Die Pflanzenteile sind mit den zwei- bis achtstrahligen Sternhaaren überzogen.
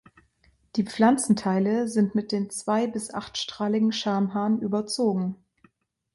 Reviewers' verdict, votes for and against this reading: rejected, 1, 2